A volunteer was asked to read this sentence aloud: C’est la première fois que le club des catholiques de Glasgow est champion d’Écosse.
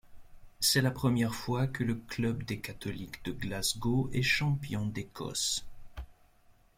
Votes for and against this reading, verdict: 2, 0, accepted